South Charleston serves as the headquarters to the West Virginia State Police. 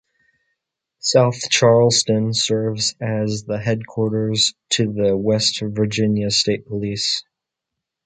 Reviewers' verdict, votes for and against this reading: accepted, 2, 0